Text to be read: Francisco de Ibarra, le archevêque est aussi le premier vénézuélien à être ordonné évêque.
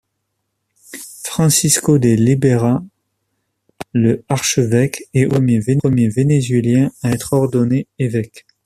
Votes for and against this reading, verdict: 0, 2, rejected